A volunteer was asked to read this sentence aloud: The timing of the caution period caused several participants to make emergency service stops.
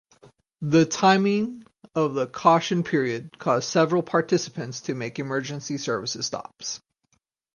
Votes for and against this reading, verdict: 4, 2, accepted